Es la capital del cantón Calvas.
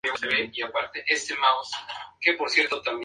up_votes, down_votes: 0, 4